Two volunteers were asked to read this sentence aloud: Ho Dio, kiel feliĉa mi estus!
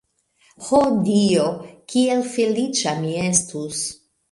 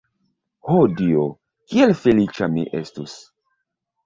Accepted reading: second